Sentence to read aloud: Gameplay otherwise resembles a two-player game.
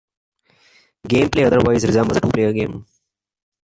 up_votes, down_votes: 1, 2